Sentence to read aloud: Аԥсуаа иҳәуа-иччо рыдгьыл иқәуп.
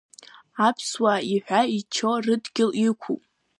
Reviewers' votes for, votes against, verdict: 0, 2, rejected